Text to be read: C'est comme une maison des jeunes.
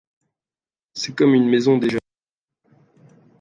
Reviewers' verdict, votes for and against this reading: rejected, 0, 2